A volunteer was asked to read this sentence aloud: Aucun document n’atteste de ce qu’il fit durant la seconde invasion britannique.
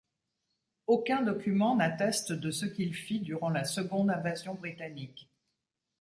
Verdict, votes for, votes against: accepted, 2, 0